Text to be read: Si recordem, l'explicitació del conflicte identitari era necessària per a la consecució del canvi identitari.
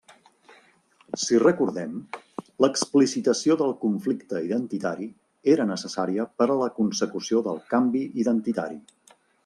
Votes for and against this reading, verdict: 3, 0, accepted